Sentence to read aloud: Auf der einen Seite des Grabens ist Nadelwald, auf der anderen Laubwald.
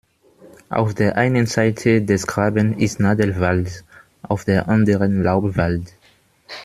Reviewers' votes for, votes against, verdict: 1, 2, rejected